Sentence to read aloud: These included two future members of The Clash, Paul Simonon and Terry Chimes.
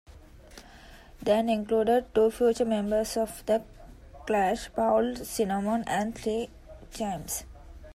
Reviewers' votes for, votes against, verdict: 0, 2, rejected